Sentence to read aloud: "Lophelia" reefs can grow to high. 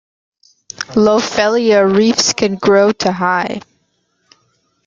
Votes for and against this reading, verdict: 2, 0, accepted